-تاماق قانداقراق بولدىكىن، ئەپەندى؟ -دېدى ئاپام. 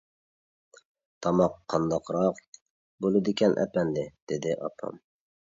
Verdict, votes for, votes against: rejected, 0, 2